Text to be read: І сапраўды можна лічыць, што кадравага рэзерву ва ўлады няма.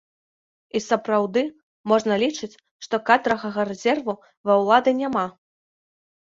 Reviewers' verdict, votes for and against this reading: accepted, 2, 0